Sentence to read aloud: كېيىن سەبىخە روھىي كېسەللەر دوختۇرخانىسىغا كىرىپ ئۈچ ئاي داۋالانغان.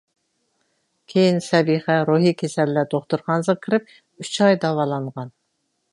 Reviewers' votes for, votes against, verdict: 2, 0, accepted